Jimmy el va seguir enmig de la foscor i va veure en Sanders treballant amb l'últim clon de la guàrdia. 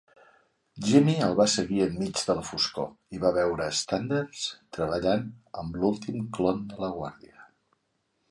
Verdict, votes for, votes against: rejected, 1, 2